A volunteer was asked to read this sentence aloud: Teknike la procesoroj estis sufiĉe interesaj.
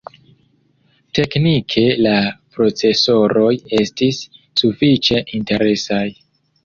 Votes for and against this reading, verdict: 2, 0, accepted